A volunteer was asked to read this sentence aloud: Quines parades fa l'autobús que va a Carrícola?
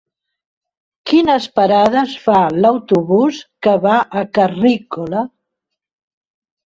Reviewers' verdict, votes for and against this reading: rejected, 0, 2